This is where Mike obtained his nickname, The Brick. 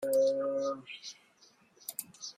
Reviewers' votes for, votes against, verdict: 0, 2, rejected